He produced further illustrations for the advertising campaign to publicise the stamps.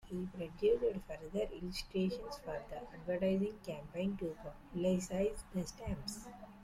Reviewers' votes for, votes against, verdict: 0, 2, rejected